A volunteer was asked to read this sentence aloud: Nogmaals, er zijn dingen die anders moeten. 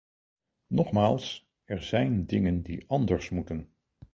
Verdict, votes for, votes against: accepted, 4, 0